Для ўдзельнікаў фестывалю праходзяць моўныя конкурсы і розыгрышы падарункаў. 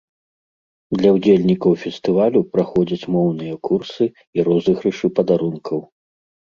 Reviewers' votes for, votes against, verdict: 1, 2, rejected